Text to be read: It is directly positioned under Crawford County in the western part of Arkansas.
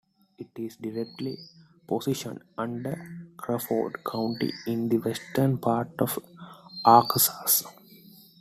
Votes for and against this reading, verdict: 2, 1, accepted